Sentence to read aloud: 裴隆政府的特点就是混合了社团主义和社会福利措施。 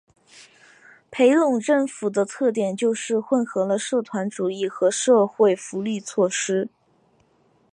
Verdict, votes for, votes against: accepted, 2, 1